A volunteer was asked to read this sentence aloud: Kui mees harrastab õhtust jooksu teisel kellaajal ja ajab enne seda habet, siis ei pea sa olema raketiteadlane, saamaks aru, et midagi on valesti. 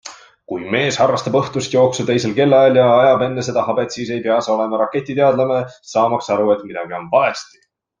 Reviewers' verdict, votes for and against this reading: accepted, 2, 0